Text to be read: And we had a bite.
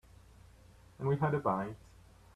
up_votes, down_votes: 0, 2